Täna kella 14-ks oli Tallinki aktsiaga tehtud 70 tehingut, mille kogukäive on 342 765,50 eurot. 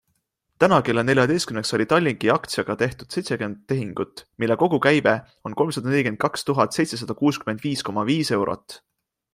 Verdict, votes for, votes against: rejected, 0, 2